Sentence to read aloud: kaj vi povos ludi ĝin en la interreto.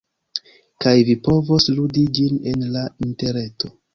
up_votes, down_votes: 2, 1